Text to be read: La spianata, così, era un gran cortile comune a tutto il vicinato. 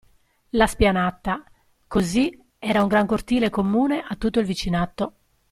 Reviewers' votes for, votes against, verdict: 2, 0, accepted